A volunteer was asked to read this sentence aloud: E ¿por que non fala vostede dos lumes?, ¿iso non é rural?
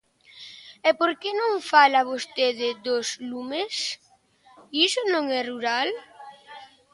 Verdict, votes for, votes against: accepted, 2, 0